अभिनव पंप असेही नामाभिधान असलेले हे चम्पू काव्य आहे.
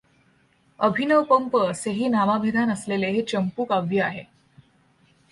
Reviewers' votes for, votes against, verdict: 2, 0, accepted